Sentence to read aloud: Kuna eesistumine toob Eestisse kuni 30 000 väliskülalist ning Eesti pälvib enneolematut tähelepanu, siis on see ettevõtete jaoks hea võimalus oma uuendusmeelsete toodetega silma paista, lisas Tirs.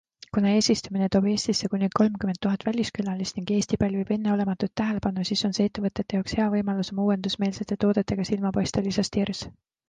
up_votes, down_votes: 0, 2